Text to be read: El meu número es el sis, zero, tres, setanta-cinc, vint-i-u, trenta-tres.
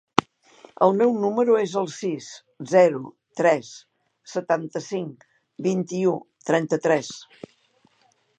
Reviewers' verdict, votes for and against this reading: accepted, 4, 0